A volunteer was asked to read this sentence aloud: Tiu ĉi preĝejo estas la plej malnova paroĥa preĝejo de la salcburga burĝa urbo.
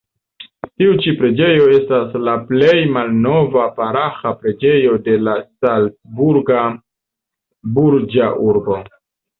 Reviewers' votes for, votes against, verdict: 0, 2, rejected